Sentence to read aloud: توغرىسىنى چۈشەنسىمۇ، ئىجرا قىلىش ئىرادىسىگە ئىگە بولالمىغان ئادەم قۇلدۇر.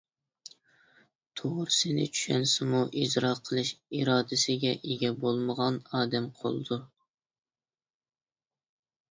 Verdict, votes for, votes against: rejected, 0, 2